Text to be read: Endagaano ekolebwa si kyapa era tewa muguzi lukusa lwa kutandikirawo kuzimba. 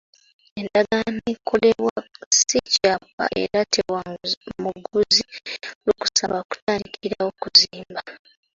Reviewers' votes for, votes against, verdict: 0, 2, rejected